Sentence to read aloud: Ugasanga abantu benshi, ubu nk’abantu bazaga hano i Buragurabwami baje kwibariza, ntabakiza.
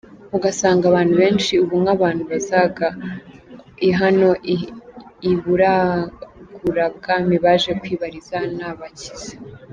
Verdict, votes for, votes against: rejected, 0, 2